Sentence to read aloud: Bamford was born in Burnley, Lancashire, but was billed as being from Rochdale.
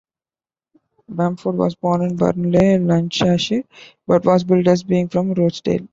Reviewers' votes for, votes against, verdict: 1, 2, rejected